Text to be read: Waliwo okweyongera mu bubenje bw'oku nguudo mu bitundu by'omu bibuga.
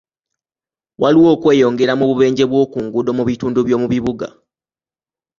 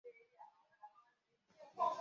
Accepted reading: first